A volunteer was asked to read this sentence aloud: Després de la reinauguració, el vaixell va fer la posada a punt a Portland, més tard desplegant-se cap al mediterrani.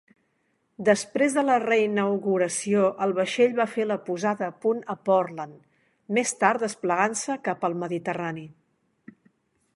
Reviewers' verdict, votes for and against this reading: accepted, 3, 0